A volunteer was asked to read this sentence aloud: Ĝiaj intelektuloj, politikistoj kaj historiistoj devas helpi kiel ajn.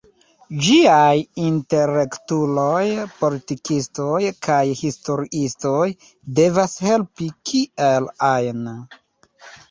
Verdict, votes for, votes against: rejected, 1, 2